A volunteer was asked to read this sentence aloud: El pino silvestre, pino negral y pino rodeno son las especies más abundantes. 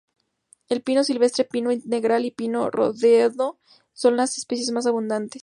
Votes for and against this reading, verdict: 2, 2, rejected